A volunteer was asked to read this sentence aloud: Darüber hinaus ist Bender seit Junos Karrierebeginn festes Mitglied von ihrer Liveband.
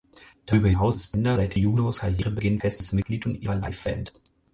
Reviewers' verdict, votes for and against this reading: rejected, 0, 4